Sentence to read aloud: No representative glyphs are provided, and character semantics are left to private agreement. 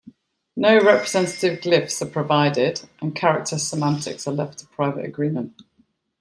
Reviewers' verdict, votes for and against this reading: accepted, 2, 1